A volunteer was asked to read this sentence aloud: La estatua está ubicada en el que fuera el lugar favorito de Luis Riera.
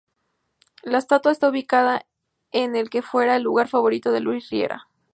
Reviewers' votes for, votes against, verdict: 0, 4, rejected